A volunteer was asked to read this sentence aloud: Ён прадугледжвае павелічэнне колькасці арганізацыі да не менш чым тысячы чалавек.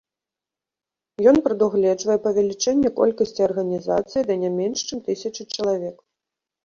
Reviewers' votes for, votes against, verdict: 2, 0, accepted